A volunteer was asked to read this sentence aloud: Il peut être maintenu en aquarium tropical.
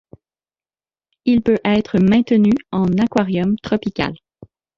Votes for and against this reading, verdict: 2, 1, accepted